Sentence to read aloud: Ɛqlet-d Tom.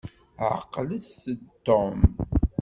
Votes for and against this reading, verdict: 2, 0, accepted